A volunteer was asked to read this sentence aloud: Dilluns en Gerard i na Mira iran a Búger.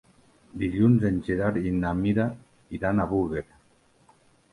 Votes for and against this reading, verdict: 0, 2, rejected